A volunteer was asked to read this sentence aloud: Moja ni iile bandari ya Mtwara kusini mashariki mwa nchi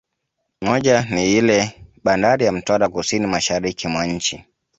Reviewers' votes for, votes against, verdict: 2, 0, accepted